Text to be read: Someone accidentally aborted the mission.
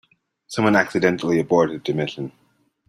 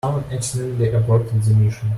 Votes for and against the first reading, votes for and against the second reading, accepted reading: 2, 0, 0, 2, first